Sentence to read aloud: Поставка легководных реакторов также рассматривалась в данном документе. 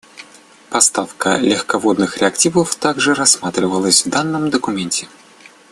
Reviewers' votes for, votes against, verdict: 2, 1, accepted